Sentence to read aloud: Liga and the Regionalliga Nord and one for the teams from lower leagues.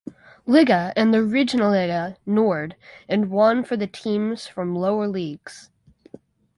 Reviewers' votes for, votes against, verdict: 4, 0, accepted